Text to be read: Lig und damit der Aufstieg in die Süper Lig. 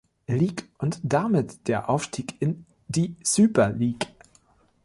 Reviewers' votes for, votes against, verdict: 2, 0, accepted